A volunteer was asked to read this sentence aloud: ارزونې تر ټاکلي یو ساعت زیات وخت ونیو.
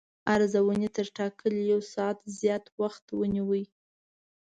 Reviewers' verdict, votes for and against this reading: rejected, 1, 2